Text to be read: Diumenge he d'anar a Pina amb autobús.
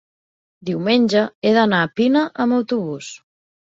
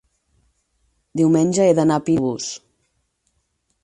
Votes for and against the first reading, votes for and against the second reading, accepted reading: 4, 0, 0, 6, first